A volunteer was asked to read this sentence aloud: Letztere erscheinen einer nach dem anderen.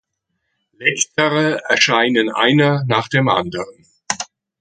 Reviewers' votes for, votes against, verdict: 0, 2, rejected